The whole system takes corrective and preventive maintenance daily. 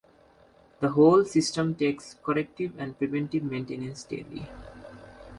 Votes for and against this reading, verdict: 2, 0, accepted